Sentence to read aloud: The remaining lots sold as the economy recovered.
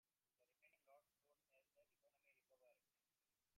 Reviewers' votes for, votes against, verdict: 0, 2, rejected